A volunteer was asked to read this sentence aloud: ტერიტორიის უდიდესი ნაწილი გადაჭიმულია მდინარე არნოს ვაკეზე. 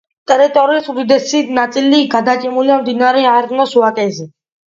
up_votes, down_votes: 2, 0